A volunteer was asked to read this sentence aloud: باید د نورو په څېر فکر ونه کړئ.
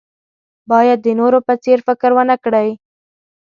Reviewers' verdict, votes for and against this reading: accepted, 2, 0